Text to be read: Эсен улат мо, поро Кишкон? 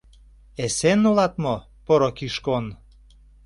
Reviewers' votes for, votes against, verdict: 2, 0, accepted